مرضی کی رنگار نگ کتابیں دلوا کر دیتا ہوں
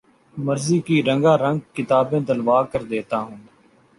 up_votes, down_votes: 2, 0